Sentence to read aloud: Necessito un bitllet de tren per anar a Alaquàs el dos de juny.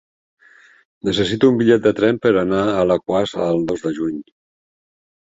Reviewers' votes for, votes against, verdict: 4, 0, accepted